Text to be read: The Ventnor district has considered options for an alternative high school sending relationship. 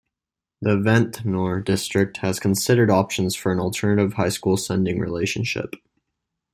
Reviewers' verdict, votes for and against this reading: accepted, 2, 0